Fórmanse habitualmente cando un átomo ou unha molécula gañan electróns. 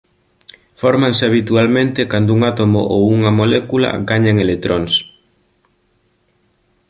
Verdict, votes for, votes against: accepted, 2, 0